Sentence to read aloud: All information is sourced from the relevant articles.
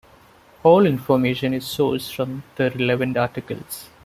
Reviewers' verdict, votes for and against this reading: rejected, 1, 2